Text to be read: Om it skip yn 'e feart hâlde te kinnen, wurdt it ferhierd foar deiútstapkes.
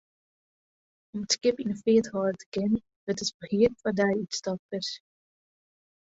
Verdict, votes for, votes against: rejected, 0, 2